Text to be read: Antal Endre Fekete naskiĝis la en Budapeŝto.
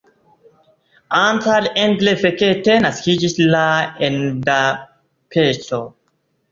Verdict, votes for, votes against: rejected, 0, 2